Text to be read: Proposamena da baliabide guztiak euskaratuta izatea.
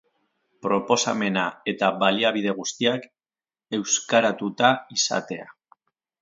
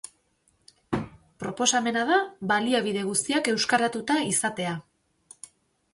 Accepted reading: second